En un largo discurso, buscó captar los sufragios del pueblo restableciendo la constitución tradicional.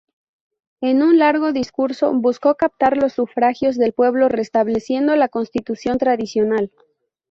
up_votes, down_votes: 2, 0